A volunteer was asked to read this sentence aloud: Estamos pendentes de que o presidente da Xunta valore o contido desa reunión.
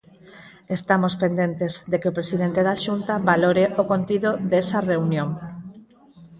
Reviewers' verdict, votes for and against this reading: rejected, 0, 4